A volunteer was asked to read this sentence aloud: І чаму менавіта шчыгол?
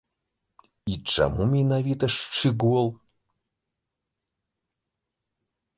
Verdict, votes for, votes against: rejected, 1, 2